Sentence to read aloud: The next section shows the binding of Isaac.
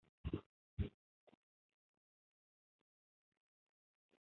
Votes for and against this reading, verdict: 0, 2, rejected